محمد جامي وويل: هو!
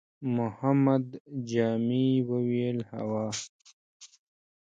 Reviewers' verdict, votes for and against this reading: rejected, 1, 2